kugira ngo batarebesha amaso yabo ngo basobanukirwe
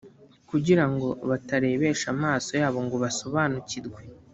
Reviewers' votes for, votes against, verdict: 2, 0, accepted